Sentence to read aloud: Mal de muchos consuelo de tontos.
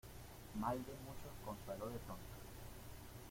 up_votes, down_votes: 0, 2